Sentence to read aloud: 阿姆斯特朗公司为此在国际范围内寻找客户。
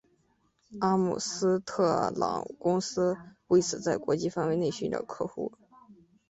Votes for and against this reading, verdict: 2, 0, accepted